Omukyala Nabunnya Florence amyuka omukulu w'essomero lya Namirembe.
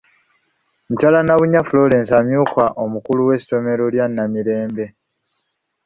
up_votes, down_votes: 1, 2